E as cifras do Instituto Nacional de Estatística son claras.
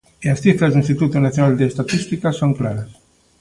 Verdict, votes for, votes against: accepted, 3, 0